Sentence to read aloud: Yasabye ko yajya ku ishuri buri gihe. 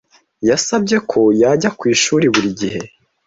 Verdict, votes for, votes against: accepted, 2, 0